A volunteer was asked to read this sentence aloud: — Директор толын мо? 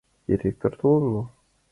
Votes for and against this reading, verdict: 2, 1, accepted